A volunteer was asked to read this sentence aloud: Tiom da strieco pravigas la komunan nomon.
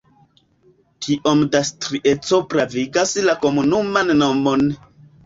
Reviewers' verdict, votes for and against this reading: rejected, 0, 2